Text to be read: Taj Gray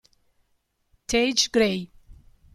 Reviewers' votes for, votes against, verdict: 1, 2, rejected